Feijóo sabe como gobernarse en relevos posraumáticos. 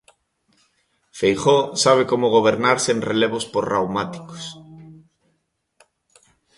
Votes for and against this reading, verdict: 2, 0, accepted